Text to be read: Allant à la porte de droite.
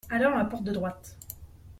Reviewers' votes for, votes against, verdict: 0, 2, rejected